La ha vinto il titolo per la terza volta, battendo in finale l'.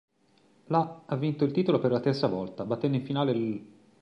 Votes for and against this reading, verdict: 2, 0, accepted